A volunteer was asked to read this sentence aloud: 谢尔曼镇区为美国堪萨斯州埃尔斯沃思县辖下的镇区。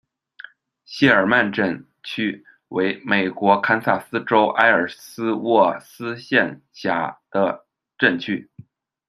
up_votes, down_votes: 0, 2